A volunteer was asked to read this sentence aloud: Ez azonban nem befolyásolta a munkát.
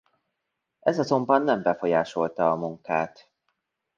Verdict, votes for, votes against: accepted, 2, 0